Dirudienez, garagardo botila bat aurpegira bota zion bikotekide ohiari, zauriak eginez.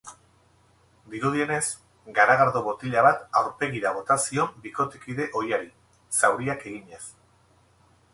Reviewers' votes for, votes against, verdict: 0, 2, rejected